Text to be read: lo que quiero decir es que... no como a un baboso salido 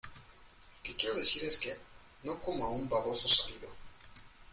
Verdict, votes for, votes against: accepted, 2, 0